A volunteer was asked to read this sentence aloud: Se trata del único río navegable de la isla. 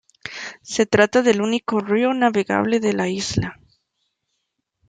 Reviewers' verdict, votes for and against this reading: accepted, 2, 0